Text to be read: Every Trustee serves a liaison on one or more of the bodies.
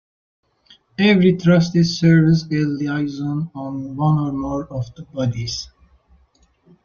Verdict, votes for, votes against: accepted, 2, 0